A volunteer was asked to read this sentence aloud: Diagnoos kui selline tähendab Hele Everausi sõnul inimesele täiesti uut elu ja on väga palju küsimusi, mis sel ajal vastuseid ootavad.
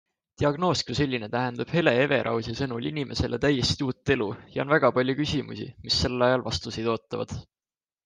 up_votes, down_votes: 2, 0